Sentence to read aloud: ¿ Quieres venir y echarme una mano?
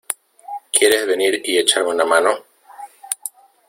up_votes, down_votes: 2, 1